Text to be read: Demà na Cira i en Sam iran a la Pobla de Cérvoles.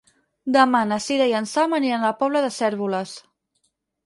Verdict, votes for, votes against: rejected, 2, 4